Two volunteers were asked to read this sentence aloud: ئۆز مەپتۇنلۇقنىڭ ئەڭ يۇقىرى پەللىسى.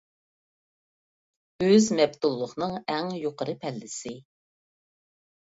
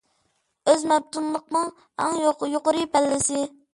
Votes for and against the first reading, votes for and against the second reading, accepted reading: 2, 0, 0, 2, first